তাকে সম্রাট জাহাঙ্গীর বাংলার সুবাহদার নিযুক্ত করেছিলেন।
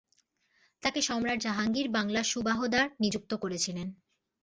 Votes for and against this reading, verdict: 2, 0, accepted